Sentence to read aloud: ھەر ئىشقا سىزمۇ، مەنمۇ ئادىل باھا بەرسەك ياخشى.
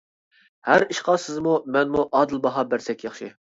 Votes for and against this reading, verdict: 2, 0, accepted